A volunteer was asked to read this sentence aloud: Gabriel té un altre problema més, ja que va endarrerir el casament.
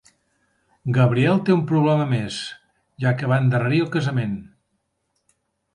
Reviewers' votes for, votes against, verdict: 0, 2, rejected